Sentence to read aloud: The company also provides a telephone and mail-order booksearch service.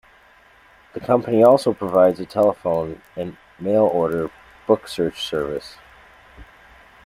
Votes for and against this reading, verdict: 1, 2, rejected